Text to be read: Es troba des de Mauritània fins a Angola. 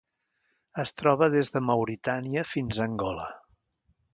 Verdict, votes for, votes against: rejected, 1, 2